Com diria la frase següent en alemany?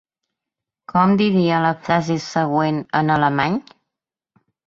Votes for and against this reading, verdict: 2, 0, accepted